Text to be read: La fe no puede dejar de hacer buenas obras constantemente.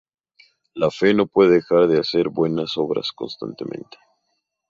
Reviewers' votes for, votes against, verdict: 0, 2, rejected